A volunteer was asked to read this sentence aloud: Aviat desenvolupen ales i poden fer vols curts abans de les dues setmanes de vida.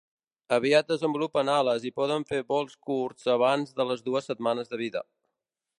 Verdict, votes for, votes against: accepted, 3, 0